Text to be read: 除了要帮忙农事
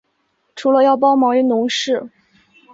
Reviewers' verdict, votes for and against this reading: accepted, 4, 2